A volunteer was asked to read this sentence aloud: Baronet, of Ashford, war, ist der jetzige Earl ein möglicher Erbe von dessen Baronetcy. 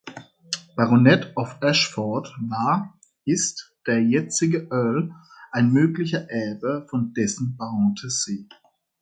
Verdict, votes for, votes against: rejected, 1, 2